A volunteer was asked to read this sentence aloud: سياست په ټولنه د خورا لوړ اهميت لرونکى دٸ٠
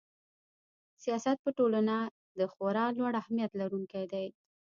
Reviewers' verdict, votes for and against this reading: rejected, 0, 2